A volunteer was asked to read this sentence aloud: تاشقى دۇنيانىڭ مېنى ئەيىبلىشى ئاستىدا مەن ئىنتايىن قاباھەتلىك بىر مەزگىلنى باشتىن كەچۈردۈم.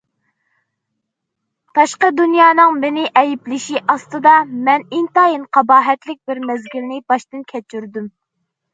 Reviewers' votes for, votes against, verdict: 2, 0, accepted